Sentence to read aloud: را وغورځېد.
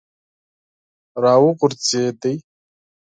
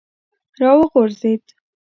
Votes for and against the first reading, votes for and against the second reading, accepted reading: 0, 4, 2, 0, second